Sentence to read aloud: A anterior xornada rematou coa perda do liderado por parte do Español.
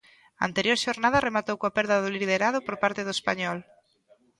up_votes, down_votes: 2, 0